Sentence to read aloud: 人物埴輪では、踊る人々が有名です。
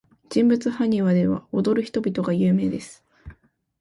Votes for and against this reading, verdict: 3, 0, accepted